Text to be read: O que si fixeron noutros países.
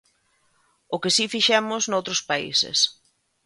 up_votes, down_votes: 0, 2